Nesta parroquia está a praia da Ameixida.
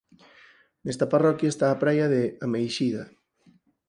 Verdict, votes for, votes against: rejected, 0, 4